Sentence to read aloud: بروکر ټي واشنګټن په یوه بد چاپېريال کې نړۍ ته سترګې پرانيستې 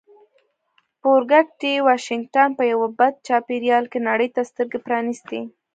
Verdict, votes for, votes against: rejected, 0, 2